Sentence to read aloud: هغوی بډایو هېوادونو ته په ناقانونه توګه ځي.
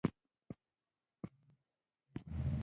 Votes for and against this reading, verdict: 0, 2, rejected